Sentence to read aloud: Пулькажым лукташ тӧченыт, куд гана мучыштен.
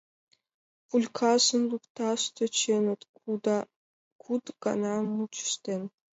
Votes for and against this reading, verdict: 2, 0, accepted